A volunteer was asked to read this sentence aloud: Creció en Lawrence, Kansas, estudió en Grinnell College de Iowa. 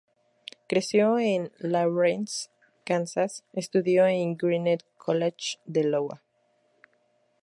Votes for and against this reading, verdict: 2, 0, accepted